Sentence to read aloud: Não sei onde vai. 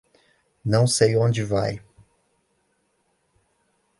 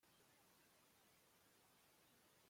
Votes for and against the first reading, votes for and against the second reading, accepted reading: 2, 0, 0, 2, first